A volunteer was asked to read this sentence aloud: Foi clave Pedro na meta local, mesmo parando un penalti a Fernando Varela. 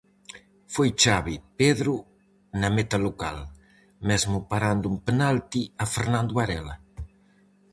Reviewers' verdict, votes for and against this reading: rejected, 0, 4